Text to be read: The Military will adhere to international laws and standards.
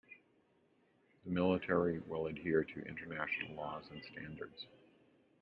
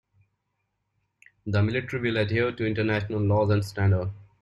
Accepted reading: second